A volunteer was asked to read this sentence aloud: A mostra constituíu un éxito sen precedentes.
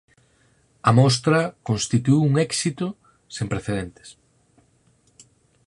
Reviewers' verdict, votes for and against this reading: accepted, 4, 0